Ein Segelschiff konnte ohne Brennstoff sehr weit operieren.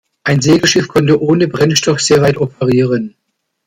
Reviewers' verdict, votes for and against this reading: accepted, 2, 0